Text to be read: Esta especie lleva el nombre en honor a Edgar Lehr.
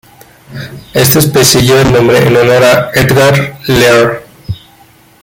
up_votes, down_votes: 0, 2